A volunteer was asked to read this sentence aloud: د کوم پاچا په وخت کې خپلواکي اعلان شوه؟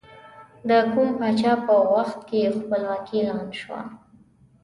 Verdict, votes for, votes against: accepted, 2, 0